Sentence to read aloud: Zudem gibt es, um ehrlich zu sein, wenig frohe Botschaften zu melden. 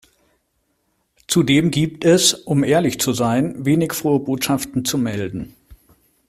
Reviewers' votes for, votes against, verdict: 2, 0, accepted